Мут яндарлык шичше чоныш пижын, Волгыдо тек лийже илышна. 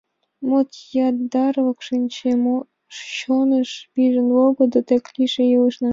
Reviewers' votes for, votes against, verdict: 1, 3, rejected